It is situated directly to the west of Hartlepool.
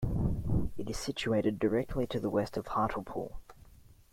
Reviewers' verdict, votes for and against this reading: rejected, 0, 2